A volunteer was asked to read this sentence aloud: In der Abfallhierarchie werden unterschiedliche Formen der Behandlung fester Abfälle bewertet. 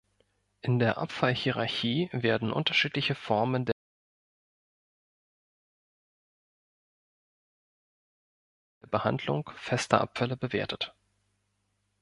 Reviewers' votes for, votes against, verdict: 1, 2, rejected